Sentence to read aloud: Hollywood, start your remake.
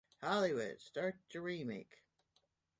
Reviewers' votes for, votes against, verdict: 2, 1, accepted